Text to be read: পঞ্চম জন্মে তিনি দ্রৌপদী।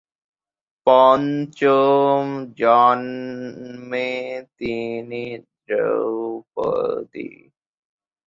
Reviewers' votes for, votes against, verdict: 4, 12, rejected